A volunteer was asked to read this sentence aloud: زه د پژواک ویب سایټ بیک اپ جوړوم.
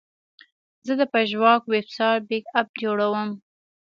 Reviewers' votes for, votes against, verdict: 2, 0, accepted